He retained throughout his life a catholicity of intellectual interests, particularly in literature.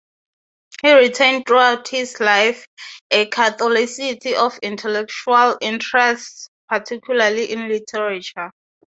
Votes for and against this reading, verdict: 3, 0, accepted